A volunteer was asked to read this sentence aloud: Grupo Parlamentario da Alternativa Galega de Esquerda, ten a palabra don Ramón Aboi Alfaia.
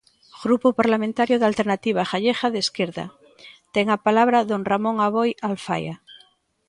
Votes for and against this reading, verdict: 1, 2, rejected